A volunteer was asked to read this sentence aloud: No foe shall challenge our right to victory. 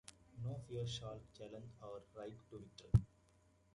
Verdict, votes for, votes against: rejected, 0, 3